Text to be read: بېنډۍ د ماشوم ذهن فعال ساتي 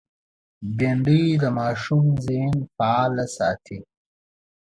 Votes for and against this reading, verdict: 2, 0, accepted